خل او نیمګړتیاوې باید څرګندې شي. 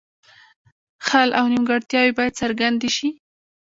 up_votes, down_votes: 2, 1